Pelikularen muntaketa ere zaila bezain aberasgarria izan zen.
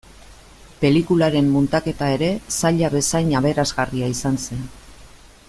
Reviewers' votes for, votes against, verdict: 2, 0, accepted